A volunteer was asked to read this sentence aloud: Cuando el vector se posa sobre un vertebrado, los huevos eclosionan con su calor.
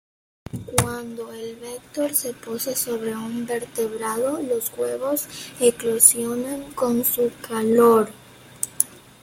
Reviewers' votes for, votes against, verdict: 2, 0, accepted